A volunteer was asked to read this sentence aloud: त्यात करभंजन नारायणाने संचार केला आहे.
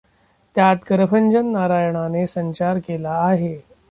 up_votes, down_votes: 0, 2